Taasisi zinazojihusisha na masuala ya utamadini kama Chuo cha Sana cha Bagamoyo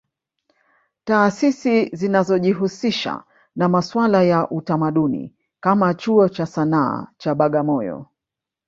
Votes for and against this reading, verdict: 3, 1, accepted